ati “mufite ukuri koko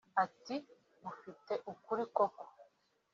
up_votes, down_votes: 2, 1